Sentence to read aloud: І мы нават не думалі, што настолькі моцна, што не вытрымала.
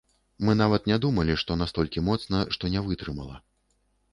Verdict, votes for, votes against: rejected, 1, 2